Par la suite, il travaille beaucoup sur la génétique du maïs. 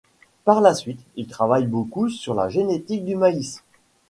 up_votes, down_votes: 2, 0